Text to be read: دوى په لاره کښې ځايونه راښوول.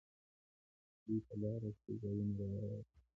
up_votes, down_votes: 0, 2